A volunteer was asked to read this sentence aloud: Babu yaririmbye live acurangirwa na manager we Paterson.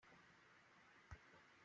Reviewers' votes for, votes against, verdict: 0, 2, rejected